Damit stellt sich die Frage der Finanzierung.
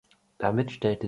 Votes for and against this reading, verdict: 0, 2, rejected